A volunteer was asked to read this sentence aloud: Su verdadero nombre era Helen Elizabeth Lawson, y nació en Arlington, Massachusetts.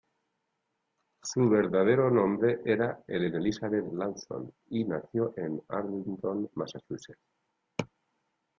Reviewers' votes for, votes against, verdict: 0, 2, rejected